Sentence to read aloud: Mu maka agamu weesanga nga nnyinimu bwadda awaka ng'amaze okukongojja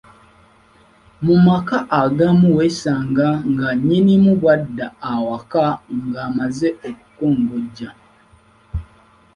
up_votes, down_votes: 3, 1